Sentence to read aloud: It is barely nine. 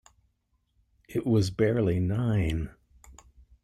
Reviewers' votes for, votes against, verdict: 0, 2, rejected